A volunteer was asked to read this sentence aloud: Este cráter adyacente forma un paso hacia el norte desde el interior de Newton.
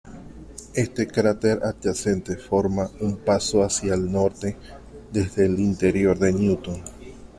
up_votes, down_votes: 2, 0